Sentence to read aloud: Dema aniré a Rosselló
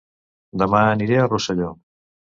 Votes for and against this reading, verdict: 3, 0, accepted